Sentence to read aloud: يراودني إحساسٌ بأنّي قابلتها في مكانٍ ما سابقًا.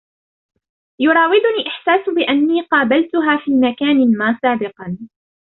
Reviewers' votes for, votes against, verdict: 1, 2, rejected